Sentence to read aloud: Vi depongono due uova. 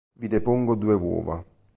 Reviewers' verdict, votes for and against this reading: rejected, 1, 2